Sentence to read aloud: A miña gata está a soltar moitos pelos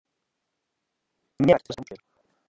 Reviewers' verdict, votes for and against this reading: rejected, 0, 2